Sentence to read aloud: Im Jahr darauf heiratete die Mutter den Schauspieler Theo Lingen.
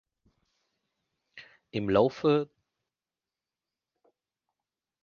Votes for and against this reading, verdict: 0, 2, rejected